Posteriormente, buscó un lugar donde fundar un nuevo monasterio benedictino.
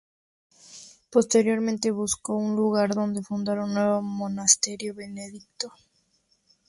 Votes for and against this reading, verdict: 0, 2, rejected